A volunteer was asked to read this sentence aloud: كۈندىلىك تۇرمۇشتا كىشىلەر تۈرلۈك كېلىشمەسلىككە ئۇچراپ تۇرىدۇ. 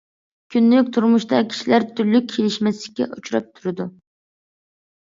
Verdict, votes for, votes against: accepted, 2, 0